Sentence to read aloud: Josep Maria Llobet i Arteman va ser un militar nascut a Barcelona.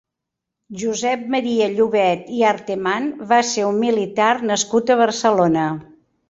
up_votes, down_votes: 2, 0